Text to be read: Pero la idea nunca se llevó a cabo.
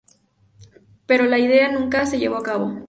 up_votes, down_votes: 2, 0